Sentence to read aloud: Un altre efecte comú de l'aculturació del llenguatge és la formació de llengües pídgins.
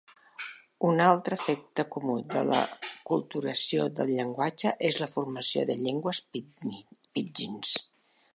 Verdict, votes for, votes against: rejected, 0, 2